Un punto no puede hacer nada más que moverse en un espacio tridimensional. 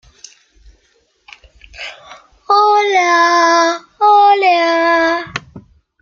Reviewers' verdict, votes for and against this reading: rejected, 0, 2